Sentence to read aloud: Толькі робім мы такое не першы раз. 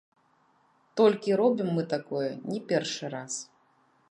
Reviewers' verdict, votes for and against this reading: rejected, 1, 2